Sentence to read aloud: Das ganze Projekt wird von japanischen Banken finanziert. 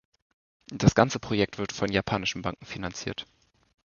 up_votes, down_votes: 2, 0